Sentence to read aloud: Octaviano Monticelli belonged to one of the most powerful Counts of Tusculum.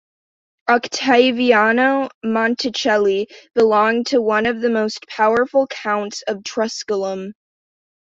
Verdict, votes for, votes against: rejected, 1, 2